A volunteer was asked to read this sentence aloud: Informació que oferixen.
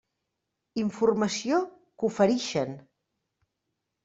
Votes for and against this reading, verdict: 2, 0, accepted